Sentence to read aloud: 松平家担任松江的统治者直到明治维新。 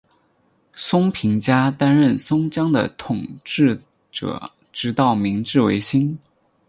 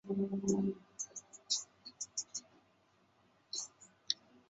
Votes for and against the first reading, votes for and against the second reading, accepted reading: 8, 6, 0, 3, first